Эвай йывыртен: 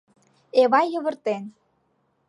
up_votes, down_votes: 2, 0